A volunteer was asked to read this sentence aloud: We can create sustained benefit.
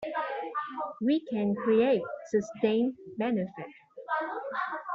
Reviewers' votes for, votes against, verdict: 2, 1, accepted